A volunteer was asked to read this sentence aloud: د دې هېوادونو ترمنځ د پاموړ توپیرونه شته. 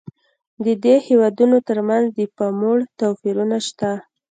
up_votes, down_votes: 2, 0